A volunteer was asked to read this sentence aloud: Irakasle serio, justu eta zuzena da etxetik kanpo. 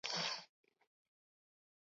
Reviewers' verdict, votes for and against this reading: accepted, 2, 0